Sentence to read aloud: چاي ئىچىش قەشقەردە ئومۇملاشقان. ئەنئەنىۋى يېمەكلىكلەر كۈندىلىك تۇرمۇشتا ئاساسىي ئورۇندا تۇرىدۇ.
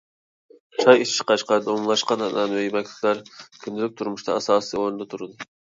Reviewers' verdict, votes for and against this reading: rejected, 0, 2